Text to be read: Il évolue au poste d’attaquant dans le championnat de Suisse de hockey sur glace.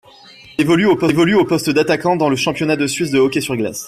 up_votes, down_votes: 0, 2